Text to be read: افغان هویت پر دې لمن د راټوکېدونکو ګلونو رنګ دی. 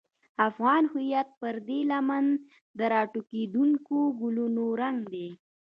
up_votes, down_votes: 3, 1